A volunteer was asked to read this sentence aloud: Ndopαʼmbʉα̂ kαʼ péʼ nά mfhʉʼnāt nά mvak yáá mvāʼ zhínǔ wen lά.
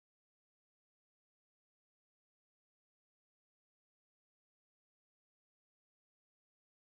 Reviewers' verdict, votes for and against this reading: rejected, 2, 3